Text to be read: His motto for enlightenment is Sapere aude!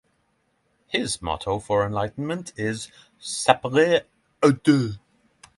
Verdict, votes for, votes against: accepted, 3, 0